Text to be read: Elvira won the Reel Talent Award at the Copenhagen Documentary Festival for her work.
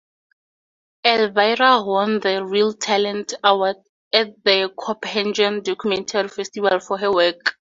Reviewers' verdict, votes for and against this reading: accepted, 2, 0